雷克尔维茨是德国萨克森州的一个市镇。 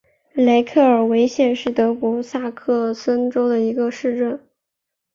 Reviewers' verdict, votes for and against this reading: accepted, 4, 2